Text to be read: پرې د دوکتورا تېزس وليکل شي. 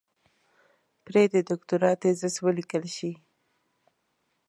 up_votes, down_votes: 2, 0